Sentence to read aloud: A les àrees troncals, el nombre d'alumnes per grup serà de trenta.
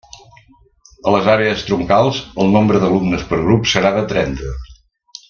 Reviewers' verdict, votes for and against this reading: accepted, 2, 0